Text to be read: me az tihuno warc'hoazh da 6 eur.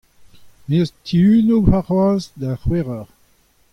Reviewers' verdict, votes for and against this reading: rejected, 0, 2